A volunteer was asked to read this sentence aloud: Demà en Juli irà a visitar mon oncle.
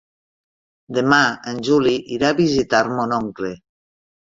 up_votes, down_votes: 4, 0